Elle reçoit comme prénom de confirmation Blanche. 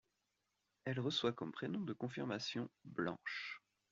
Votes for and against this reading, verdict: 2, 1, accepted